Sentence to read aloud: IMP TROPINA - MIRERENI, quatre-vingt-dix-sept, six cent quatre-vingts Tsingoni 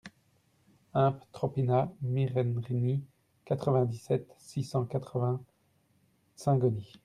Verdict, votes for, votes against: rejected, 0, 2